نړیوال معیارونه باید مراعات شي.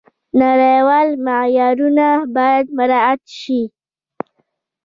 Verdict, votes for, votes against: rejected, 0, 2